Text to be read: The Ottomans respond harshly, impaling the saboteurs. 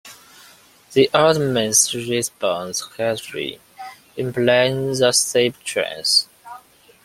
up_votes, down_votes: 1, 2